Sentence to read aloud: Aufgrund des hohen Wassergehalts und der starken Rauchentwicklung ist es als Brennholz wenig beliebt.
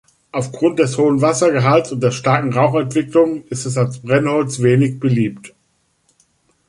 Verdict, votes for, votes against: accepted, 3, 0